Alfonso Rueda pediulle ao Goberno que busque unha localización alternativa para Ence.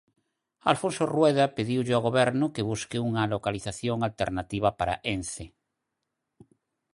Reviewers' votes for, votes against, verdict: 4, 0, accepted